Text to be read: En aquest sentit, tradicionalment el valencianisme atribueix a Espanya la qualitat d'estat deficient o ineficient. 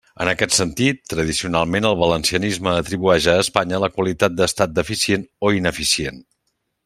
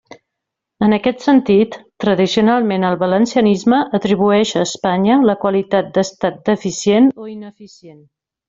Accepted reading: first